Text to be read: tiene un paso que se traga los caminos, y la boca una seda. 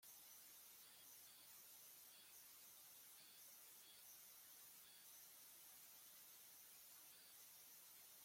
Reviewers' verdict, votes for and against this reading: rejected, 0, 2